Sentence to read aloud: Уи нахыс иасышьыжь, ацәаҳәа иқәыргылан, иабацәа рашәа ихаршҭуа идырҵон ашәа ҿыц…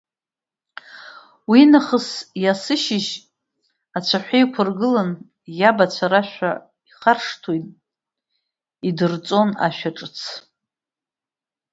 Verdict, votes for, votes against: rejected, 1, 3